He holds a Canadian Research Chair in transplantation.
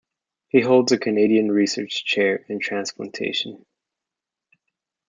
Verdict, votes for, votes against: accepted, 2, 0